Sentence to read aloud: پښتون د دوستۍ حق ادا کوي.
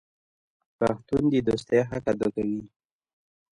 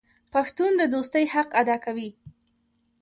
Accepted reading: second